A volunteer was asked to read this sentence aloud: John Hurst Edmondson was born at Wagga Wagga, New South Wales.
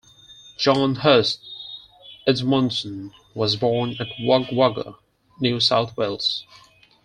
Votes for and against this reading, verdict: 4, 2, accepted